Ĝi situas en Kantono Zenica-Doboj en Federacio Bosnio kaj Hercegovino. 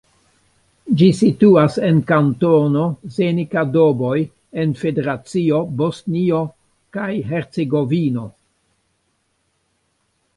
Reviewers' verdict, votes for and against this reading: accepted, 2, 0